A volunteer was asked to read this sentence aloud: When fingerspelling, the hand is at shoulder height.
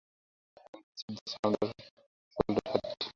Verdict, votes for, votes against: rejected, 0, 2